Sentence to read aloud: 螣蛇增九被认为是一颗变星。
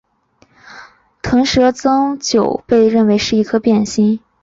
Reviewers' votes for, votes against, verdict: 1, 2, rejected